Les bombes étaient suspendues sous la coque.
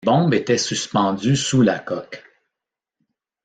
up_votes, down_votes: 1, 2